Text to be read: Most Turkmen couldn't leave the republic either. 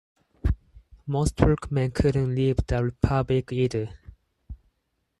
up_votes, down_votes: 2, 4